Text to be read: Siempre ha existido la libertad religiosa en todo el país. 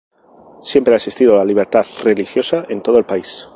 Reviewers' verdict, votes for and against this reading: rejected, 0, 2